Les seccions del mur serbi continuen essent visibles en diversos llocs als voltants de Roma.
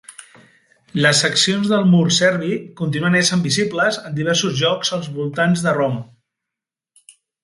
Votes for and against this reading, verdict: 0, 2, rejected